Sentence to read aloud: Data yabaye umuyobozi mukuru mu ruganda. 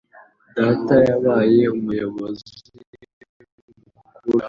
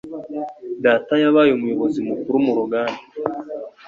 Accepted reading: second